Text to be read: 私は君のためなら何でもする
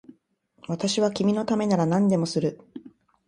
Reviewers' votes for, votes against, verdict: 2, 0, accepted